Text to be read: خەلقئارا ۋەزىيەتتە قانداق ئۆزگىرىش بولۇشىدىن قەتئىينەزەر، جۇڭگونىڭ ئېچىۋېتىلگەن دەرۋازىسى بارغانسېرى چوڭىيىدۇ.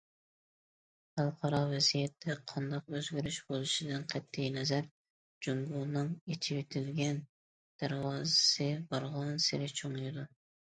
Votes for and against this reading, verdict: 2, 0, accepted